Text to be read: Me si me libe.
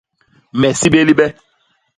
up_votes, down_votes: 0, 2